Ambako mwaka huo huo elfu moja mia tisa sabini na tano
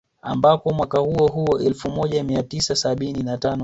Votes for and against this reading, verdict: 0, 2, rejected